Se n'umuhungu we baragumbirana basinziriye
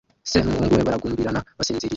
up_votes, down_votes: 1, 2